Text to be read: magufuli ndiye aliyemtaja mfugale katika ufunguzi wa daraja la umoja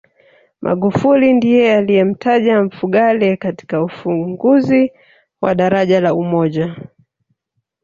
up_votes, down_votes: 1, 2